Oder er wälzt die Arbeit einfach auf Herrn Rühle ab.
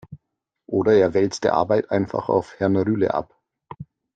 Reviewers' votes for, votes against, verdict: 1, 2, rejected